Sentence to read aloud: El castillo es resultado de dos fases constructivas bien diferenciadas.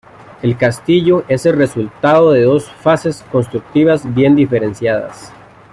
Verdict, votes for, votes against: rejected, 0, 2